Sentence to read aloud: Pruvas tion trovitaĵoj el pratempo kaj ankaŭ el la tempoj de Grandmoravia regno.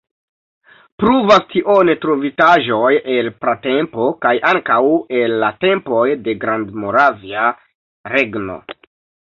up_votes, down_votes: 1, 2